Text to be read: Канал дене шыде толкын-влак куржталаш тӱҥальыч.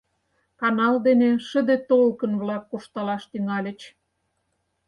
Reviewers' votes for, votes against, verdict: 4, 0, accepted